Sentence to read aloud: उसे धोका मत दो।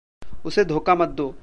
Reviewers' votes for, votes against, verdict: 1, 2, rejected